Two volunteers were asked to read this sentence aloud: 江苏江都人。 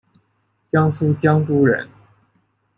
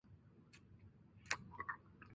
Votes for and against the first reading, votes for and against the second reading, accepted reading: 2, 0, 0, 3, first